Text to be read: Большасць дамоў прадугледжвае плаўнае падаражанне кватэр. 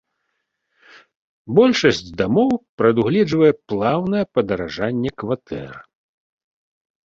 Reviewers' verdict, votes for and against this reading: accepted, 2, 0